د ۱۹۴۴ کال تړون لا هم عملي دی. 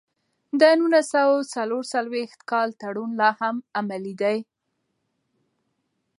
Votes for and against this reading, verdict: 0, 2, rejected